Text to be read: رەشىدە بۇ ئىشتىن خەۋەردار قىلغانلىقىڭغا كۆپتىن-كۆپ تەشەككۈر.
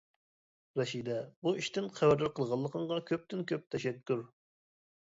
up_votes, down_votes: 2, 0